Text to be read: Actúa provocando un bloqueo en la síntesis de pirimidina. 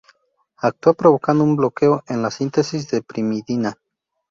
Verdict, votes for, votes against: rejected, 0, 2